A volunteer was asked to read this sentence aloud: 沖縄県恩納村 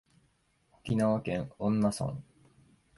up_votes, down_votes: 2, 0